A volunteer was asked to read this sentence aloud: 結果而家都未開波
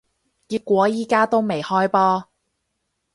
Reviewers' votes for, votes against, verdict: 2, 2, rejected